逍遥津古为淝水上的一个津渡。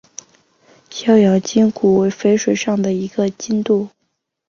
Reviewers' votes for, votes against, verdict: 4, 0, accepted